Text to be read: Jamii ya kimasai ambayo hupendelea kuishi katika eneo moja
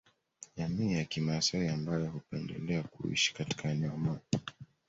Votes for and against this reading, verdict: 1, 2, rejected